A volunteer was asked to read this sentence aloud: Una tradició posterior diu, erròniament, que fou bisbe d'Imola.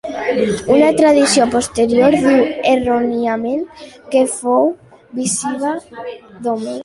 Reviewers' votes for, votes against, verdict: 0, 2, rejected